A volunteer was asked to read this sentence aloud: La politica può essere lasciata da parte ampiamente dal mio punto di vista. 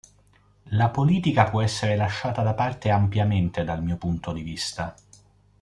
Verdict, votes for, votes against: accepted, 2, 0